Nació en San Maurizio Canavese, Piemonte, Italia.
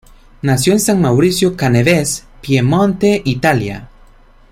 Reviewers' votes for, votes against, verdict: 0, 2, rejected